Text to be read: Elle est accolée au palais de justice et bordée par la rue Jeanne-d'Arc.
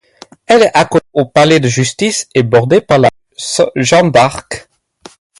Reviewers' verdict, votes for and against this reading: rejected, 2, 4